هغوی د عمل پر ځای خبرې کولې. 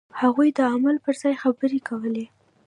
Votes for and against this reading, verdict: 0, 2, rejected